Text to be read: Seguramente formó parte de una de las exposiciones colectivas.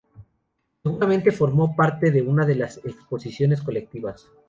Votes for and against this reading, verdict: 0, 2, rejected